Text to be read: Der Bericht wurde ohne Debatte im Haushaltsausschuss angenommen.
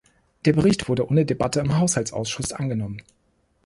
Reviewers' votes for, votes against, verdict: 2, 0, accepted